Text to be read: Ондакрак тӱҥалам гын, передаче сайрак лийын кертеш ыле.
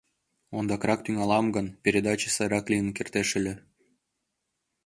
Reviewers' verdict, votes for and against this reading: accepted, 2, 0